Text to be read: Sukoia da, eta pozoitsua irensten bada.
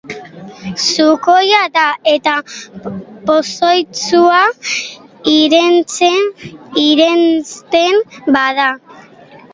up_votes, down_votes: 0, 2